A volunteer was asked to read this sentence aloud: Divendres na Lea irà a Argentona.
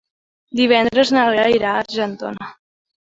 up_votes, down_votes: 2, 0